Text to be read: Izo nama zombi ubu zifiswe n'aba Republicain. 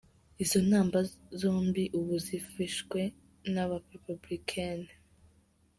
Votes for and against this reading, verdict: 0, 2, rejected